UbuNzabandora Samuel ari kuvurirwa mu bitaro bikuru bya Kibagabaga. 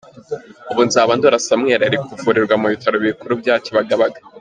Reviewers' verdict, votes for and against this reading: accepted, 2, 0